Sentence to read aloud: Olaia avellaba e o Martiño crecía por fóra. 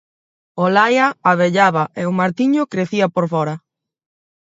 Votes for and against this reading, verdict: 4, 0, accepted